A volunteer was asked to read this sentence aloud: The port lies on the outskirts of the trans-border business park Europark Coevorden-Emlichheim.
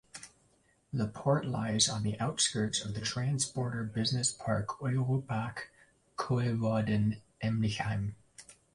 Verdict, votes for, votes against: accepted, 2, 0